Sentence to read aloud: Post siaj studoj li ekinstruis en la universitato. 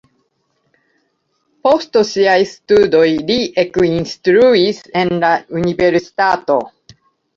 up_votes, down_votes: 1, 2